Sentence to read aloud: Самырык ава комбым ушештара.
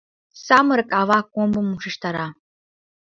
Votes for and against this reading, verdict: 2, 0, accepted